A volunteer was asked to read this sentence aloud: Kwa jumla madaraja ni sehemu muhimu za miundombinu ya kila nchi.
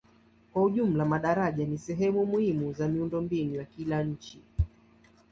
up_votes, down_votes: 0, 2